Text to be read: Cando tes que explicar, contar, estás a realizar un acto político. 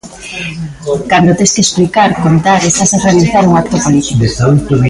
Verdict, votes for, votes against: accepted, 2, 1